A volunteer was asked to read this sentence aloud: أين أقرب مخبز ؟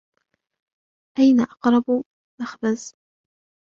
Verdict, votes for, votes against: rejected, 0, 2